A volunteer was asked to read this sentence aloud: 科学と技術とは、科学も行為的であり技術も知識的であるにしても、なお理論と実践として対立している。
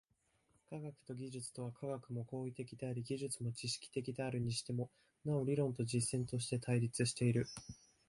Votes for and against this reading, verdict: 3, 2, accepted